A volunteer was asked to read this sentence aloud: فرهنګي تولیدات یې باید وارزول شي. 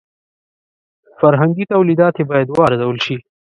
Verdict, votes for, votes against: accepted, 2, 0